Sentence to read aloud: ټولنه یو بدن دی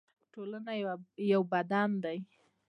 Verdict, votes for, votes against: accepted, 2, 0